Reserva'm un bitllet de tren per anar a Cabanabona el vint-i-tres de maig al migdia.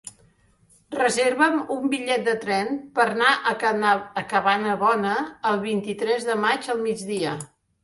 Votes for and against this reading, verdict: 0, 2, rejected